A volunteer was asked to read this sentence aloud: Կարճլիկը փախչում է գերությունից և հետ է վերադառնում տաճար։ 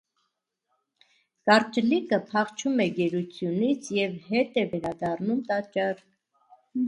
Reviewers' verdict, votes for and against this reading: rejected, 1, 2